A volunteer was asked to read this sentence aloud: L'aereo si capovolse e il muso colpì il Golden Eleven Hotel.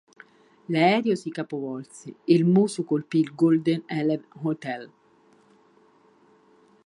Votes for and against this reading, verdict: 1, 2, rejected